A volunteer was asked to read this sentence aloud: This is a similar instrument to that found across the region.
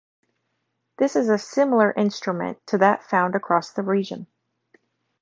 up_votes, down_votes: 4, 0